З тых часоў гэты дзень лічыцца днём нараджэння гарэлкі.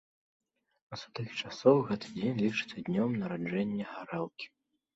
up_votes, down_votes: 3, 0